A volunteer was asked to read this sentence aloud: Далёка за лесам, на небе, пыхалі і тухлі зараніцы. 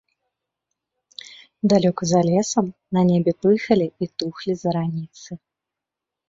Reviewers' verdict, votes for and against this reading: accepted, 3, 0